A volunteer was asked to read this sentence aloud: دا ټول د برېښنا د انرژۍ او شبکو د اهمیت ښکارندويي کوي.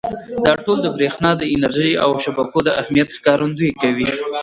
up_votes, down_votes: 1, 2